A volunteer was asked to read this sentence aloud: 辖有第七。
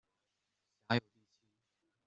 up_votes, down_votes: 0, 2